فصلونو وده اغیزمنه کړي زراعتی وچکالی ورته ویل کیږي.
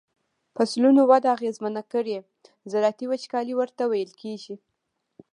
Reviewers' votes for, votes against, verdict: 2, 0, accepted